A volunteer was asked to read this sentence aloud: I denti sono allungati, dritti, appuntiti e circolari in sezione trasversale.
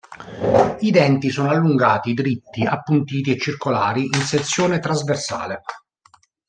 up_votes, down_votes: 1, 2